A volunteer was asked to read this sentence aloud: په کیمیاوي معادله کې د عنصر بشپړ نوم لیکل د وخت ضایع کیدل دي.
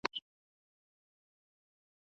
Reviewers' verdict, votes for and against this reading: rejected, 1, 2